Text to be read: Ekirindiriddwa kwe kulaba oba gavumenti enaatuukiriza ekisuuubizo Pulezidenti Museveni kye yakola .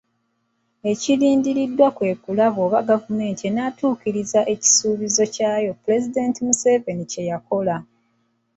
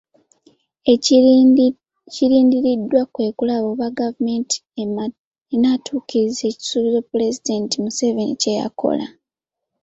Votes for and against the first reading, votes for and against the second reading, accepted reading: 1, 2, 2, 0, second